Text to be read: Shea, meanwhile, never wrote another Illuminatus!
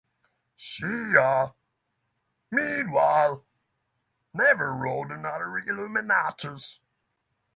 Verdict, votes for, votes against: rejected, 3, 3